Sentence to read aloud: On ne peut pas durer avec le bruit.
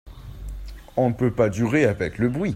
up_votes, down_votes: 2, 0